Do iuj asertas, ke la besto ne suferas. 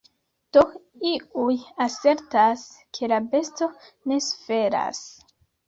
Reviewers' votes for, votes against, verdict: 2, 0, accepted